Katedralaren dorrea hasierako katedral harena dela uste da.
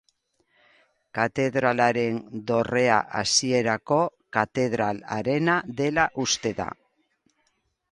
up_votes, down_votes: 4, 0